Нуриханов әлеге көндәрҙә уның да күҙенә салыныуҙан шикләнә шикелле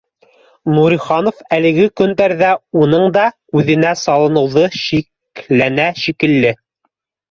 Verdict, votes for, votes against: rejected, 1, 3